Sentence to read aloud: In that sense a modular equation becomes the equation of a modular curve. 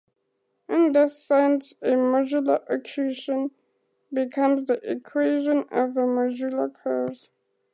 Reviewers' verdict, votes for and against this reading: accepted, 4, 0